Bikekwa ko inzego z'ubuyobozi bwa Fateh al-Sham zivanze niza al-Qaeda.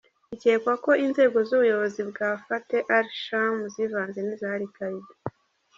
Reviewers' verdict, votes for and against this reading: rejected, 1, 2